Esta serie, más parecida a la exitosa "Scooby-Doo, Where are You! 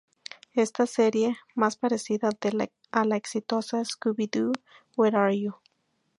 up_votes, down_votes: 2, 0